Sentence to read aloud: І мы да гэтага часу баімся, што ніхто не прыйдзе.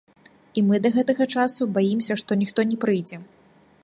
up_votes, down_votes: 2, 1